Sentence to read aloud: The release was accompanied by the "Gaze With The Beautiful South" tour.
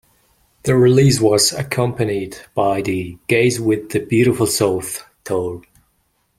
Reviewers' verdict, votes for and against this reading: accepted, 2, 0